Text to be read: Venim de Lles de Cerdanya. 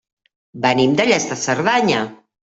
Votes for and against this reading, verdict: 2, 0, accepted